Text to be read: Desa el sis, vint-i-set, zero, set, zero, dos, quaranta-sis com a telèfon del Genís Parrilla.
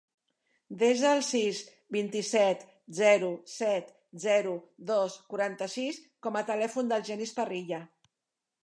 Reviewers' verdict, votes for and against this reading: accepted, 3, 1